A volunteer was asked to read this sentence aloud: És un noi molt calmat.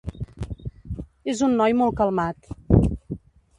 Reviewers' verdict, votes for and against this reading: accepted, 2, 0